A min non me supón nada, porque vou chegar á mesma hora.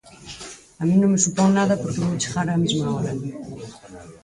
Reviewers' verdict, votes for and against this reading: rejected, 0, 4